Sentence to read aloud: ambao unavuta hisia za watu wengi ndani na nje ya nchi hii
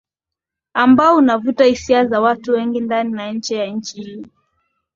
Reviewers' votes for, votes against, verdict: 13, 3, accepted